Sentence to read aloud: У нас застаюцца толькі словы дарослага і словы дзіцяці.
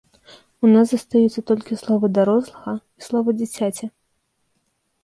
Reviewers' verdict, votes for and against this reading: accepted, 2, 0